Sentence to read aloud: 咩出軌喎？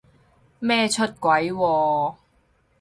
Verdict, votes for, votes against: accepted, 4, 0